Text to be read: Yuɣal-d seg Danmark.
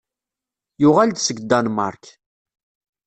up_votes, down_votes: 2, 0